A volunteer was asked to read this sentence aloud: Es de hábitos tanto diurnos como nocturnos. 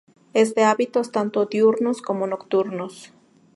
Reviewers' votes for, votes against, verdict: 4, 0, accepted